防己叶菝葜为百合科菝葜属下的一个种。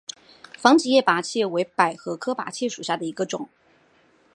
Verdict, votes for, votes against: accepted, 2, 0